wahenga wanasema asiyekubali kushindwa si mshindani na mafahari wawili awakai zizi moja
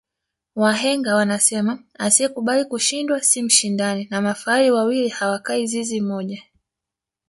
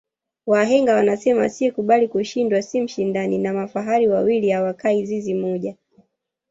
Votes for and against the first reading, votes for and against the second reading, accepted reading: 2, 0, 0, 2, first